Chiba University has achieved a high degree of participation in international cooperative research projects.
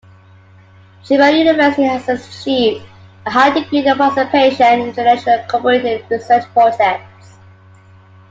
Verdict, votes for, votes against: accepted, 2, 1